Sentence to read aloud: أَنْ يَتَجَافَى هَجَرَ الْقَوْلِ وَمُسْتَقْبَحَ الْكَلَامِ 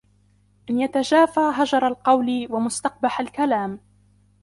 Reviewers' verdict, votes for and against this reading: rejected, 1, 2